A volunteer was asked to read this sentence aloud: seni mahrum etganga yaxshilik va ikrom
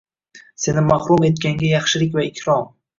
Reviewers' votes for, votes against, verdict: 1, 2, rejected